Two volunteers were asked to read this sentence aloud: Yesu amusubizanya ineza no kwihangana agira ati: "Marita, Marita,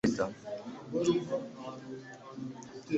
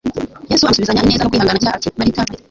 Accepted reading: second